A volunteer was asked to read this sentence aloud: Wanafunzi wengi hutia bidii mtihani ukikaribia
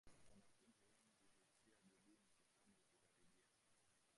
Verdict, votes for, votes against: rejected, 0, 2